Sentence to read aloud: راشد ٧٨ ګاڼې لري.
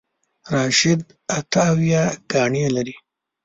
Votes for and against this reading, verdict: 0, 2, rejected